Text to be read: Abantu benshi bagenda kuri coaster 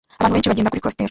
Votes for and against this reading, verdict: 0, 2, rejected